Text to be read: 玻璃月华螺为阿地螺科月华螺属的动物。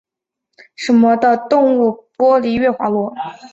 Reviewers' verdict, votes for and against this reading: rejected, 0, 4